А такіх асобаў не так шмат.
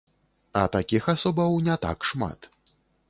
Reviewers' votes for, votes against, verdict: 3, 0, accepted